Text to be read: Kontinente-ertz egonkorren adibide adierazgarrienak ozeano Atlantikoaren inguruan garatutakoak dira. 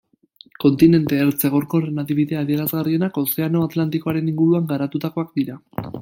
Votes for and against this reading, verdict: 0, 2, rejected